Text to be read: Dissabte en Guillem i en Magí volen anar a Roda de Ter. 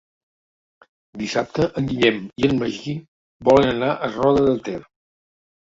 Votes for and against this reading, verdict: 2, 0, accepted